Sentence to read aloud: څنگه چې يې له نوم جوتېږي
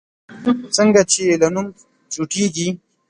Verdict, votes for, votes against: rejected, 1, 2